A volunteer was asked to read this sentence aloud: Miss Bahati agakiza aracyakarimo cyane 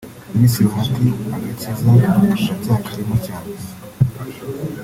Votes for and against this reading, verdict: 0, 2, rejected